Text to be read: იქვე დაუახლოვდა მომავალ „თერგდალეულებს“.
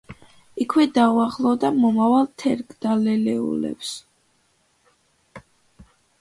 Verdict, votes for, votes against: accepted, 2, 1